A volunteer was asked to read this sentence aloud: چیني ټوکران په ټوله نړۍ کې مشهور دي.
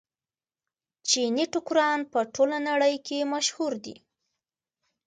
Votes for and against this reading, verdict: 2, 0, accepted